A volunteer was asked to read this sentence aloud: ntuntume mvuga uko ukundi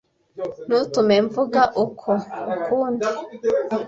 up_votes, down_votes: 1, 2